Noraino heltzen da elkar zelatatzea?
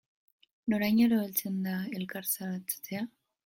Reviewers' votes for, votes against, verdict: 0, 2, rejected